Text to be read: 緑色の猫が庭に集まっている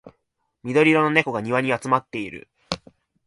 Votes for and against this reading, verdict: 6, 0, accepted